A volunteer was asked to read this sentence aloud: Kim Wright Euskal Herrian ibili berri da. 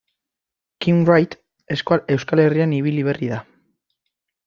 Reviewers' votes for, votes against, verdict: 0, 2, rejected